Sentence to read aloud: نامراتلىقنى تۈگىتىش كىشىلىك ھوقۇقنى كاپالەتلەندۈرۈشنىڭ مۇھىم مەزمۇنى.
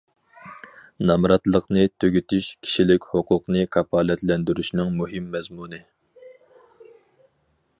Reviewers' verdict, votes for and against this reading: accepted, 4, 0